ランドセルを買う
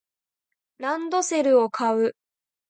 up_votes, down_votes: 2, 0